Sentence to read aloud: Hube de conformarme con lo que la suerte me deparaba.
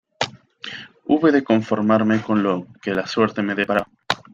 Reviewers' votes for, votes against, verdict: 1, 2, rejected